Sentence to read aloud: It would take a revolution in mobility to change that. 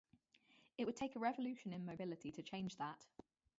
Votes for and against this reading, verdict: 0, 2, rejected